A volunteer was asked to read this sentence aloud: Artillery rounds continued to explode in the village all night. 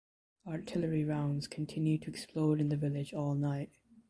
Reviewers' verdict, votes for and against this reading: accepted, 2, 1